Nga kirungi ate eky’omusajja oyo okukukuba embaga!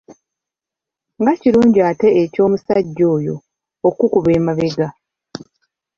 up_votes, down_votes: 0, 2